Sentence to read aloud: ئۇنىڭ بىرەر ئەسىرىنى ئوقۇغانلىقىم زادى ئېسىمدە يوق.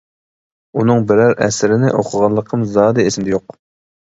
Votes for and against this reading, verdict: 2, 1, accepted